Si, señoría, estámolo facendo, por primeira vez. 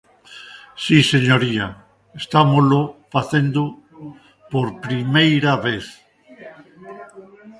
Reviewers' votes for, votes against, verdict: 1, 2, rejected